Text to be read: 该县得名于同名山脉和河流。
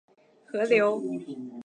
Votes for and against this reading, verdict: 0, 2, rejected